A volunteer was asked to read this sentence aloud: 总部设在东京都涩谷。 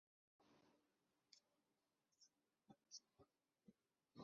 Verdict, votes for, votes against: rejected, 0, 3